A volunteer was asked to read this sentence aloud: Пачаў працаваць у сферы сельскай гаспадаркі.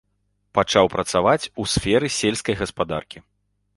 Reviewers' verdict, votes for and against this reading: accepted, 2, 0